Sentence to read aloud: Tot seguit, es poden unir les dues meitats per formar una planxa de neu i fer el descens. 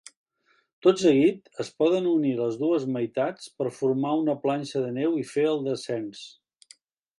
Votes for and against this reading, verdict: 2, 0, accepted